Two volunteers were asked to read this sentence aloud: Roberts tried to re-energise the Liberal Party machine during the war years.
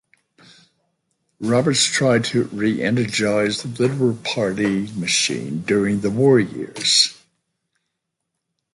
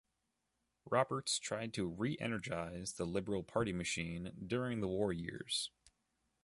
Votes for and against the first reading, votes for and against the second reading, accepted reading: 1, 2, 2, 0, second